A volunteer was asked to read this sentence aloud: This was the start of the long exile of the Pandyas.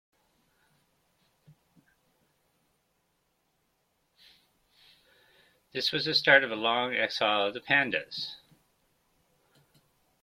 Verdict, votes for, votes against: rejected, 1, 2